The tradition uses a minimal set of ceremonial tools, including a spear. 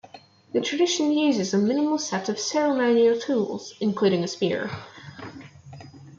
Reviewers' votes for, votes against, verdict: 0, 2, rejected